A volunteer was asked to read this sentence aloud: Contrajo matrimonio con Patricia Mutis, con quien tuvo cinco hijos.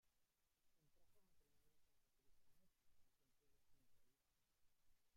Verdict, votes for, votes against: rejected, 0, 2